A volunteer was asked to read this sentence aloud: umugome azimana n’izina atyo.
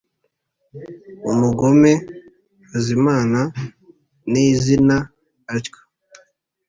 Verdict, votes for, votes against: accepted, 2, 0